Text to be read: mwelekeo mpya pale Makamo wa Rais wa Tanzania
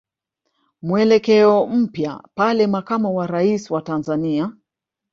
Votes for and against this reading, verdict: 1, 2, rejected